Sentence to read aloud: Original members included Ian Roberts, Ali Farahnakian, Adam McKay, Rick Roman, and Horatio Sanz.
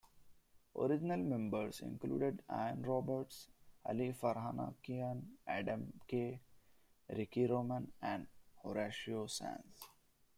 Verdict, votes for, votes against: rejected, 1, 2